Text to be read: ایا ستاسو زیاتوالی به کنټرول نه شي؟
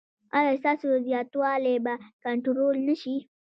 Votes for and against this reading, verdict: 2, 0, accepted